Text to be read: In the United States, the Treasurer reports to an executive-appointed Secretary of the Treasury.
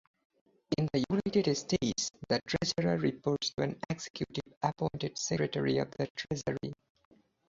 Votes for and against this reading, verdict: 0, 2, rejected